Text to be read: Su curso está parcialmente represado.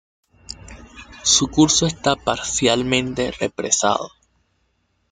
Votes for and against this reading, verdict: 0, 2, rejected